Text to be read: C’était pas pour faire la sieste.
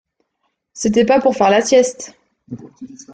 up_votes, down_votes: 2, 0